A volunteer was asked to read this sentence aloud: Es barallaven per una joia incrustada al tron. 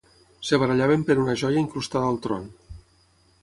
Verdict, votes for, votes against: rejected, 3, 6